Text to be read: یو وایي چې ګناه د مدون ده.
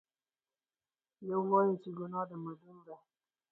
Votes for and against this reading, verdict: 2, 4, rejected